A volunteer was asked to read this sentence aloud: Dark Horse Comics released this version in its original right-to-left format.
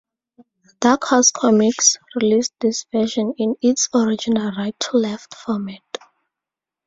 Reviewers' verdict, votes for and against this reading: rejected, 0, 2